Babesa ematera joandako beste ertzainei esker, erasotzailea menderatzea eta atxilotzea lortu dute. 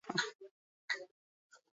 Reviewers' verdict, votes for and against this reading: rejected, 0, 4